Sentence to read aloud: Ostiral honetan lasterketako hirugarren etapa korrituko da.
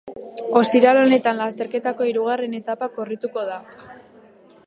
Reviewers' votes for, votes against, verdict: 2, 0, accepted